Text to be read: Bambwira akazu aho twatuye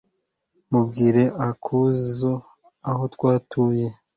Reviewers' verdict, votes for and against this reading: rejected, 0, 2